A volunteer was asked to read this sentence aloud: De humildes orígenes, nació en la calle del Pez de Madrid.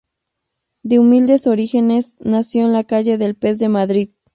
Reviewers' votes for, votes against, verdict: 0, 2, rejected